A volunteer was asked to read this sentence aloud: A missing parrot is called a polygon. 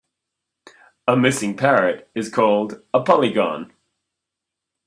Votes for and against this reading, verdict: 3, 0, accepted